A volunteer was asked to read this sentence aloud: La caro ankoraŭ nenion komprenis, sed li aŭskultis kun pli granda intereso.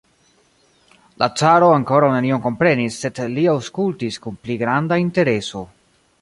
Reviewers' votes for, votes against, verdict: 0, 2, rejected